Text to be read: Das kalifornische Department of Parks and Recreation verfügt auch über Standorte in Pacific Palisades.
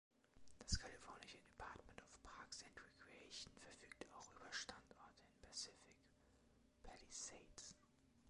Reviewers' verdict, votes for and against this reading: rejected, 0, 2